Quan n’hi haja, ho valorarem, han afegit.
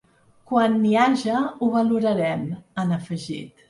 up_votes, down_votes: 4, 0